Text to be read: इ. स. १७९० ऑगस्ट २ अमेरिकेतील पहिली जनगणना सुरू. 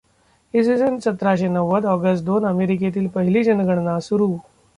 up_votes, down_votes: 0, 2